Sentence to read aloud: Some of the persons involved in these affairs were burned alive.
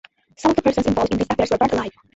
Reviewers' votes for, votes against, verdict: 0, 2, rejected